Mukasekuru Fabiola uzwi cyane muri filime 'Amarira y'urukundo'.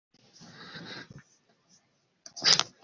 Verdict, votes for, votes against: rejected, 0, 2